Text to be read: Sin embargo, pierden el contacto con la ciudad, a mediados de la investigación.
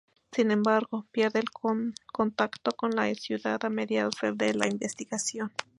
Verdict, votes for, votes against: rejected, 0, 2